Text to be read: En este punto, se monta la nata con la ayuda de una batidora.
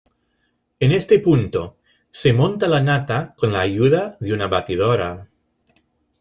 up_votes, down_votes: 0, 2